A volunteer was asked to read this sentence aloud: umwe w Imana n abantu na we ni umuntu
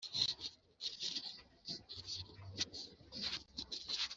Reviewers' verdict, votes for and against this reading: rejected, 0, 2